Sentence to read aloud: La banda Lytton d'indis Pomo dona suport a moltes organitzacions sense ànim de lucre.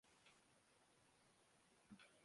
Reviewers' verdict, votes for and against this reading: rejected, 0, 2